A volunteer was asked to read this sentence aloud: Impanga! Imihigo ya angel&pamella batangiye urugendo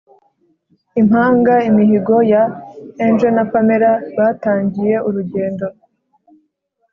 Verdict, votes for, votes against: accepted, 2, 0